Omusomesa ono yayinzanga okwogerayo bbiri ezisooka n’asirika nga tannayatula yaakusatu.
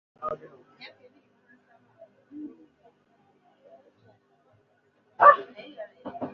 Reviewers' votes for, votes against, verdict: 0, 2, rejected